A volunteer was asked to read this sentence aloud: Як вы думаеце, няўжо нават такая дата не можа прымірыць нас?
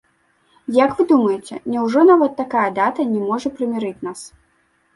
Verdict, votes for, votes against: accepted, 2, 0